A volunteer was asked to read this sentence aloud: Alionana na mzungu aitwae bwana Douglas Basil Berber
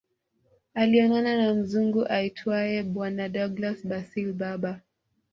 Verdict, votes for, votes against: rejected, 1, 2